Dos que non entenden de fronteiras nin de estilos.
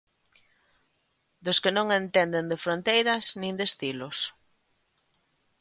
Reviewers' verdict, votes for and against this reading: accepted, 2, 0